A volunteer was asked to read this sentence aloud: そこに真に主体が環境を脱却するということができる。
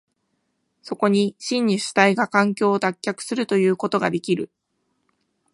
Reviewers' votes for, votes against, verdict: 2, 0, accepted